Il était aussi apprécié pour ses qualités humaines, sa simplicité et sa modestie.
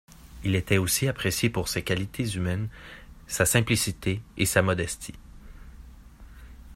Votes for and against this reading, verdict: 2, 0, accepted